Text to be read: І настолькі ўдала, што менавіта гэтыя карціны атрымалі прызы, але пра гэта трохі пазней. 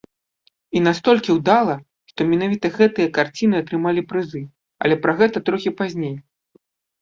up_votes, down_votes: 2, 0